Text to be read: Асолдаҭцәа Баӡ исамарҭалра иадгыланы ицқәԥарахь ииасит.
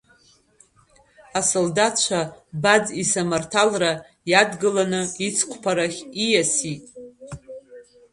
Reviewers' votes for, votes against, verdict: 1, 2, rejected